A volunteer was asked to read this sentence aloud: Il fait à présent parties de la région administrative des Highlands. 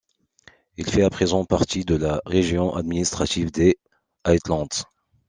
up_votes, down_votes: 2, 1